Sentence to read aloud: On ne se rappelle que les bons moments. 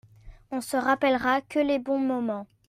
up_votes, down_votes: 0, 2